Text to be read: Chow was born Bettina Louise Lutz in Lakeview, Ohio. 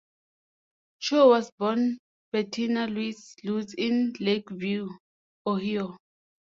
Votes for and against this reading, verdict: 2, 0, accepted